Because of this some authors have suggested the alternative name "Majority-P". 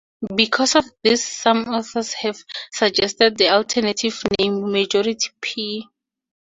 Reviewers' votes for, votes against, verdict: 2, 0, accepted